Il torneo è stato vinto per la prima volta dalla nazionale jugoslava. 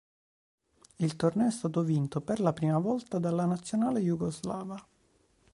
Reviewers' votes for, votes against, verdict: 2, 0, accepted